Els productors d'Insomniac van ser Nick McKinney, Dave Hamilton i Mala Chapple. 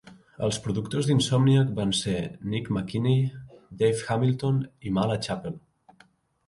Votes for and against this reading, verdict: 2, 0, accepted